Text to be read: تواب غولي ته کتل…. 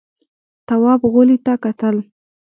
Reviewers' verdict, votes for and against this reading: accepted, 2, 1